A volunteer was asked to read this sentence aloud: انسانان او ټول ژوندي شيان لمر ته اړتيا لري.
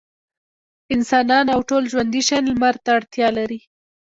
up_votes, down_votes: 0, 2